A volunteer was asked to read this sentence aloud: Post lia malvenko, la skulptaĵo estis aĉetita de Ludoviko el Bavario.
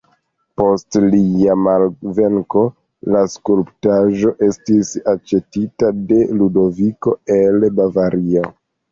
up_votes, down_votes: 2, 1